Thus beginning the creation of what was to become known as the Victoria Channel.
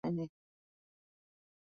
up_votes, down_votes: 0, 5